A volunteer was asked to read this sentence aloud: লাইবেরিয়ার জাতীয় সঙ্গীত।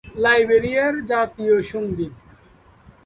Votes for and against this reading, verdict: 2, 0, accepted